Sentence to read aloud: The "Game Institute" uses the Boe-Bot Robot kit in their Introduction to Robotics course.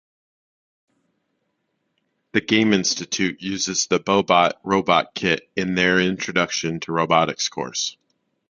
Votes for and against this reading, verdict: 2, 0, accepted